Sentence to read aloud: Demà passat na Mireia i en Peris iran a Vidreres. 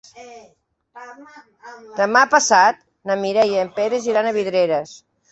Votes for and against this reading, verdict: 3, 0, accepted